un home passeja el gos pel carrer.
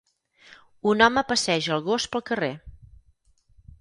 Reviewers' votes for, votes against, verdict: 4, 0, accepted